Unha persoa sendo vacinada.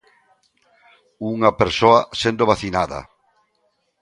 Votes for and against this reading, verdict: 2, 0, accepted